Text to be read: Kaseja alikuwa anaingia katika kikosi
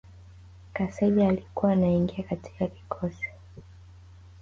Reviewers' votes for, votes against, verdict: 2, 3, rejected